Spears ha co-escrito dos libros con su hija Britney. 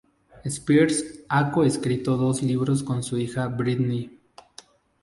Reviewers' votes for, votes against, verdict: 0, 2, rejected